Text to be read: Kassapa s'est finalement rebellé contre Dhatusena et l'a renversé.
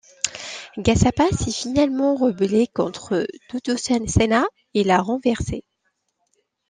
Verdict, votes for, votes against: rejected, 1, 2